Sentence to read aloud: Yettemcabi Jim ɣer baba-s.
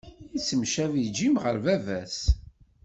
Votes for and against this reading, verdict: 2, 0, accepted